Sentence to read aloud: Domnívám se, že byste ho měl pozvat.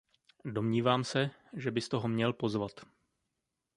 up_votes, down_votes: 2, 0